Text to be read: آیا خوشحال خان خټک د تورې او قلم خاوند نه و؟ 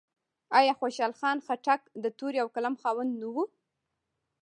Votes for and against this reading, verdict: 0, 2, rejected